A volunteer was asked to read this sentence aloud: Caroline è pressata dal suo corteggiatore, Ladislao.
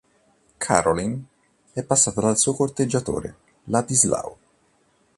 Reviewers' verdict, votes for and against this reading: rejected, 0, 2